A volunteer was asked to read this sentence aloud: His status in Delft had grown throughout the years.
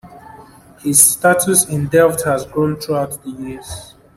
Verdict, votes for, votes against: accepted, 2, 1